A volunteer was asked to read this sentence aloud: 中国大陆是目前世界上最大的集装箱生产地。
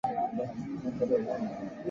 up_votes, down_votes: 0, 2